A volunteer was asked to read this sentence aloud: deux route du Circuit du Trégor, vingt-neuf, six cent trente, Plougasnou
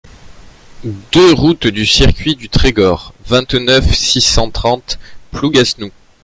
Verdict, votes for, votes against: rejected, 1, 2